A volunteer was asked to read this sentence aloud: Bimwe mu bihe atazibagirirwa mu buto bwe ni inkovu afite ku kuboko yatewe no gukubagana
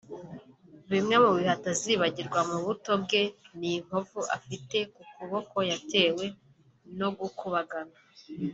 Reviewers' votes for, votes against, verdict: 1, 2, rejected